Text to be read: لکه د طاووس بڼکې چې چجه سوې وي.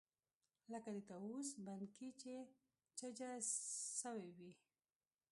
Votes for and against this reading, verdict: 0, 2, rejected